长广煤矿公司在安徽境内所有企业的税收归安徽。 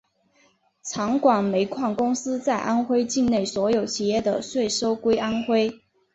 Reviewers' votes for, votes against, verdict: 3, 0, accepted